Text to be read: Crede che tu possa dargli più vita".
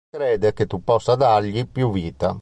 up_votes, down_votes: 2, 0